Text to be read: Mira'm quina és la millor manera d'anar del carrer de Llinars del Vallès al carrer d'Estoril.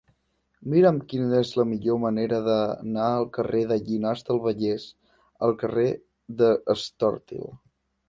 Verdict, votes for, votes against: rejected, 1, 2